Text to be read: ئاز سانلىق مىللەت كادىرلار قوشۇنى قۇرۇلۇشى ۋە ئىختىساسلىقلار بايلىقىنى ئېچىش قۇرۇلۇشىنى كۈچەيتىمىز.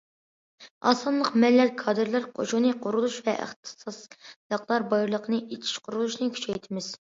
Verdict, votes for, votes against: rejected, 1, 2